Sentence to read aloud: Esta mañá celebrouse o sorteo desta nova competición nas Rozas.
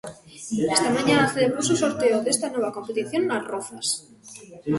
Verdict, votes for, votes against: accepted, 2, 1